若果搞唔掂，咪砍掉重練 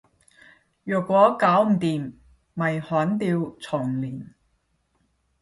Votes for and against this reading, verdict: 0, 5, rejected